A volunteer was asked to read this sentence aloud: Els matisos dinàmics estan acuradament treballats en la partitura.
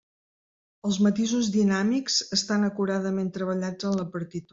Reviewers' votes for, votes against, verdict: 1, 2, rejected